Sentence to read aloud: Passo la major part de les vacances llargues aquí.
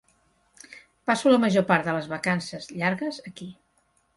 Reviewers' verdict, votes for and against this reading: accepted, 2, 0